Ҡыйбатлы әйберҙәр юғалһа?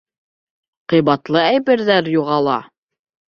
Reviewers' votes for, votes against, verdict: 0, 2, rejected